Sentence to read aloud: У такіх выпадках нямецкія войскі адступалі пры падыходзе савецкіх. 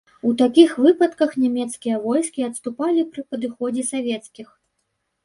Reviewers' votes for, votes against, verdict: 2, 0, accepted